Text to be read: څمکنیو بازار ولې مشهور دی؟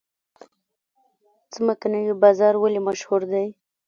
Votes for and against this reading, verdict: 1, 2, rejected